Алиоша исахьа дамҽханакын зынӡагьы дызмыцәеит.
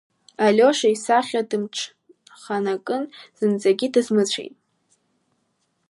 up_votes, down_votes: 0, 2